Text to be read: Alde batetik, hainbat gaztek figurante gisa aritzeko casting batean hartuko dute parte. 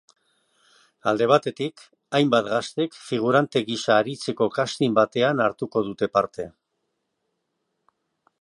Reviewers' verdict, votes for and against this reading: accepted, 2, 0